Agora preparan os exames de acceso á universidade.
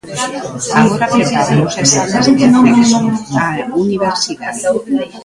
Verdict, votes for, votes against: rejected, 0, 2